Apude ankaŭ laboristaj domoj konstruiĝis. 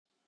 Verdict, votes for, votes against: rejected, 0, 2